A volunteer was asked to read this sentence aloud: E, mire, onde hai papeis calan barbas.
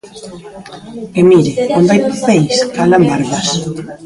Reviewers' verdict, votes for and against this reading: rejected, 0, 3